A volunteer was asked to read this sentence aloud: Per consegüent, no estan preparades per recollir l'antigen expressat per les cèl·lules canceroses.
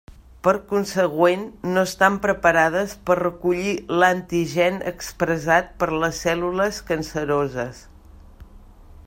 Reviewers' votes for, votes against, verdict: 0, 2, rejected